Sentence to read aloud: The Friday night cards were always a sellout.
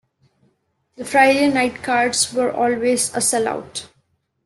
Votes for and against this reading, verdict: 2, 0, accepted